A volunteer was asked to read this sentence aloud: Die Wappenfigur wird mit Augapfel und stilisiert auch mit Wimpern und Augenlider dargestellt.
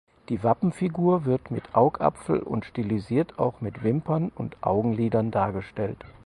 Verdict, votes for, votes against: rejected, 2, 4